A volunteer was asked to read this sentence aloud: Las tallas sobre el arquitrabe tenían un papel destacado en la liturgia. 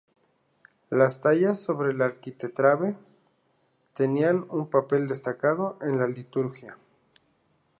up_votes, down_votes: 0, 2